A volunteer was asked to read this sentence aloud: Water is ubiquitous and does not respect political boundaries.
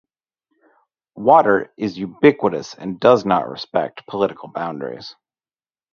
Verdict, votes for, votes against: rejected, 2, 2